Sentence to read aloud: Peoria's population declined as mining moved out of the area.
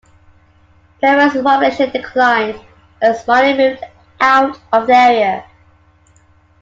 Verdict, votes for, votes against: accepted, 2, 0